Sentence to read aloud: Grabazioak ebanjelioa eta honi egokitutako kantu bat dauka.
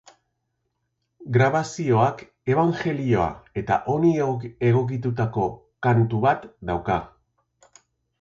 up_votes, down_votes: 0, 2